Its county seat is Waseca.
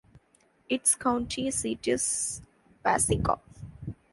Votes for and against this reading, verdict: 2, 1, accepted